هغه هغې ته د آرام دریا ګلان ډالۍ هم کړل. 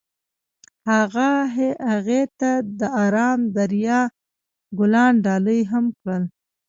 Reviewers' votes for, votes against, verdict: 0, 2, rejected